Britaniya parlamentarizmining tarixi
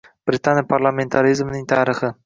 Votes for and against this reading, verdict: 2, 0, accepted